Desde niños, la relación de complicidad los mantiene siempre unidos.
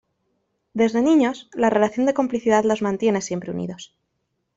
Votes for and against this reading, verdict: 2, 0, accepted